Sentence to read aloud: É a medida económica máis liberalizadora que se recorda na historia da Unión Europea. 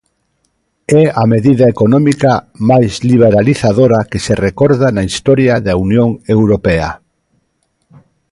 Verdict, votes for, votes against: accepted, 2, 0